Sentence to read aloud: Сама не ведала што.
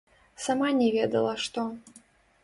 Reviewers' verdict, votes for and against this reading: rejected, 0, 2